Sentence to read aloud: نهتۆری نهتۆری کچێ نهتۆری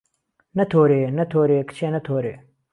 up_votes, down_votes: 1, 2